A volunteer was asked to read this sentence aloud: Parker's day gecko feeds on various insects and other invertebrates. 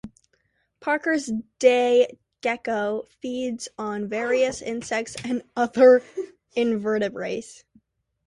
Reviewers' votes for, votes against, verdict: 1, 2, rejected